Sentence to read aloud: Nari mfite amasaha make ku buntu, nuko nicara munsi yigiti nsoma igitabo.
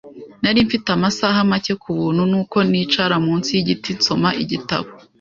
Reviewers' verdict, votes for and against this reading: accepted, 2, 0